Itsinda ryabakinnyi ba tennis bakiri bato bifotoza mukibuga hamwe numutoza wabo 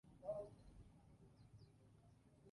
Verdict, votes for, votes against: rejected, 0, 2